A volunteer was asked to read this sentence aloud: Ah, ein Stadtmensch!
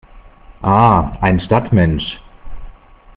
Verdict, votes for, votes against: accepted, 2, 0